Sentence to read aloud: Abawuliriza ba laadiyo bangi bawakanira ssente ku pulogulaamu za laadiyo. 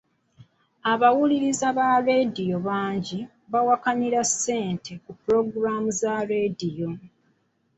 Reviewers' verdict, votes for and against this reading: rejected, 0, 2